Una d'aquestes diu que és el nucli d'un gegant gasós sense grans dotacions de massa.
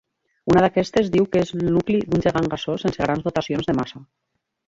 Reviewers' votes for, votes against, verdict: 1, 6, rejected